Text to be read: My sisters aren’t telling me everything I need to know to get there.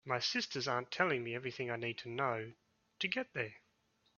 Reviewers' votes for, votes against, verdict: 3, 0, accepted